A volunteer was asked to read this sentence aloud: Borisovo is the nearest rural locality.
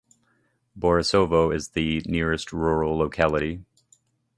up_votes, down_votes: 2, 0